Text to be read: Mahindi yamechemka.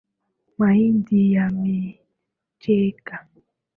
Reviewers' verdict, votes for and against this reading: rejected, 0, 2